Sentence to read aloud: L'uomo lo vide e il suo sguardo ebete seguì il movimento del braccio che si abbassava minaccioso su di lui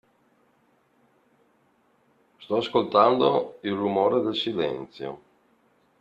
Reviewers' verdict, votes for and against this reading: rejected, 0, 2